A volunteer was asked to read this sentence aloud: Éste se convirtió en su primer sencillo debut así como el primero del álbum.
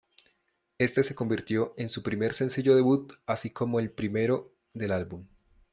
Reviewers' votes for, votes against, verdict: 2, 0, accepted